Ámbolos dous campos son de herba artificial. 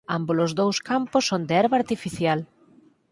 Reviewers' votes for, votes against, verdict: 4, 0, accepted